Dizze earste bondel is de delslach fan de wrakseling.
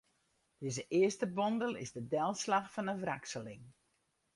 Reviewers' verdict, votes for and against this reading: rejected, 0, 2